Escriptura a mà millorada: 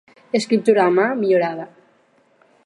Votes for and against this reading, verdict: 4, 0, accepted